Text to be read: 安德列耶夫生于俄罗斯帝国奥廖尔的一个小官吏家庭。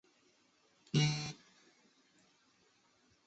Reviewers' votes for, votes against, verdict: 0, 2, rejected